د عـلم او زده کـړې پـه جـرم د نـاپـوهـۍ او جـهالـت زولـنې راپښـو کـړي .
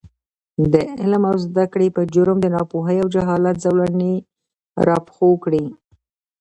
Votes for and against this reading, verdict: 1, 2, rejected